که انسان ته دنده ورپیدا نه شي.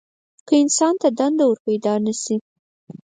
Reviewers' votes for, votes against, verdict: 4, 0, accepted